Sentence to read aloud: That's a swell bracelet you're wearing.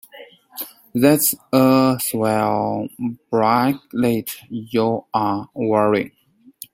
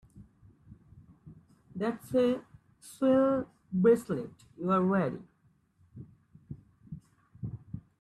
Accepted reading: second